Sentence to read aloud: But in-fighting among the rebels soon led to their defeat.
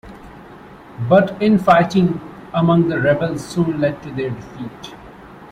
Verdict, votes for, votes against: accepted, 2, 0